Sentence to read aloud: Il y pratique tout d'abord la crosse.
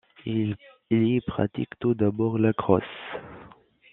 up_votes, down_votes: 2, 0